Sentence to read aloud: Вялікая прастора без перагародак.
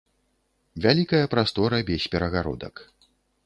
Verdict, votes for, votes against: accepted, 2, 0